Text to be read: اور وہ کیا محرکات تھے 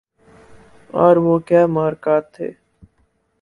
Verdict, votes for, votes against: accepted, 6, 2